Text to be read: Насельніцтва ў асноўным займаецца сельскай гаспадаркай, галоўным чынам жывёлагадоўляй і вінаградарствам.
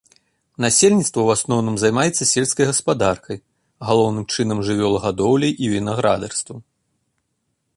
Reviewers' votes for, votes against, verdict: 2, 0, accepted